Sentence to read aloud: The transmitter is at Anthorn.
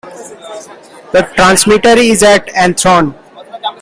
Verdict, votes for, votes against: accepted, 2, 0